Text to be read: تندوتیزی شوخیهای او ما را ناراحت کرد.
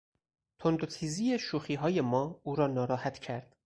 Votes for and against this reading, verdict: 0, 4, rejected